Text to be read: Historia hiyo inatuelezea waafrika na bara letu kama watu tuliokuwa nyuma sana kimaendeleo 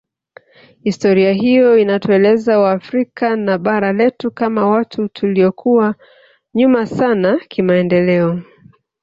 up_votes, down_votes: 1, 2